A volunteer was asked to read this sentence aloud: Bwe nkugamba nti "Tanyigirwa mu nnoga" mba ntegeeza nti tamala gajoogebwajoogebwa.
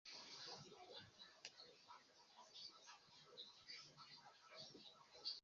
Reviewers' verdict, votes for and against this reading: rejected, 0, 3